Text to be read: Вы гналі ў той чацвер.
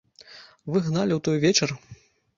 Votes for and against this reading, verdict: 0, 2, rejected